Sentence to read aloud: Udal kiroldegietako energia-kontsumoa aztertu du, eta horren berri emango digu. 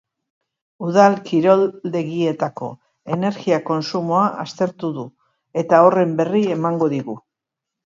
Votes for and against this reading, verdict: 2, 0, accepted